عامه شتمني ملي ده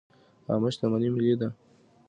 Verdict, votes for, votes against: accepted, 2, 0